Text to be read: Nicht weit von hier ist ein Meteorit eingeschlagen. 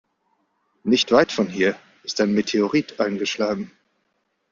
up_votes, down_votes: 2, 0